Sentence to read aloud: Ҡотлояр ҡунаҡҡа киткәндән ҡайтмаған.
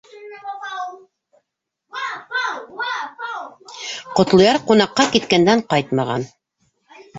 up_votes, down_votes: 0, 2